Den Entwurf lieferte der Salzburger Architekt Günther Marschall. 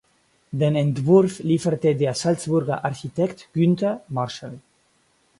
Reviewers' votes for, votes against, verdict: 4, 0, accepted